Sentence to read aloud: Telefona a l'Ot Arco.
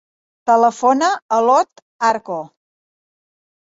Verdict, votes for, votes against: accepted, 3, 0